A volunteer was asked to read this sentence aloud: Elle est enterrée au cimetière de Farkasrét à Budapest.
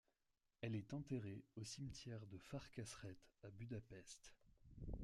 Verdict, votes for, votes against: rejected, 0, 2